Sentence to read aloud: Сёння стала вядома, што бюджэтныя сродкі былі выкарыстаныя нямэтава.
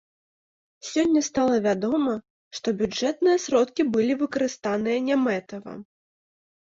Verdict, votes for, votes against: accepted, 3, 0